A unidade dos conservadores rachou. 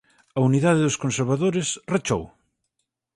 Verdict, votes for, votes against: accepted, 4, 0